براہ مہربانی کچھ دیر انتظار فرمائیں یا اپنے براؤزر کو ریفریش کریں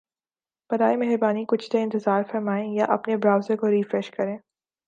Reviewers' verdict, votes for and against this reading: accepted, 2, 0